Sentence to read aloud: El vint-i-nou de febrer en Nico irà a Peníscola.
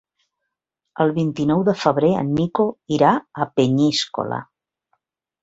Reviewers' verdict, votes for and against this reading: rejected, 0, 2